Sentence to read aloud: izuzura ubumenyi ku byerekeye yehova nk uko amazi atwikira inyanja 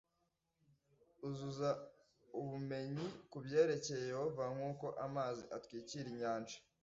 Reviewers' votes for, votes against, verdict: 0, 2, rejected